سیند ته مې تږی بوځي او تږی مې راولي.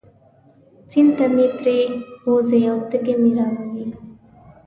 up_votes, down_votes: 2, 3